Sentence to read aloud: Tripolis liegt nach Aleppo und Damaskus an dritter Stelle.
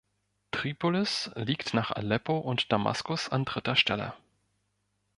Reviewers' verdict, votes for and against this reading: accepted, 2, 0